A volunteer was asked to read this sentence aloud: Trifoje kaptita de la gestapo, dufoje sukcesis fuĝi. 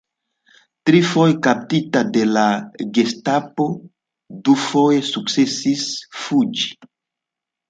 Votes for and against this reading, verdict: 2, 0, accepted